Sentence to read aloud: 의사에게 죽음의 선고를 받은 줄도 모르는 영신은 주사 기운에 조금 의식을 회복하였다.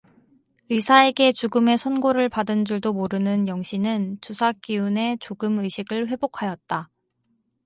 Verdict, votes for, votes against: accepted, 4, 0